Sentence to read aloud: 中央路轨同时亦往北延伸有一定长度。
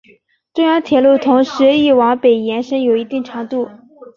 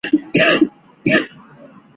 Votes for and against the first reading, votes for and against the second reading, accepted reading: 2, 0, 1, 4, first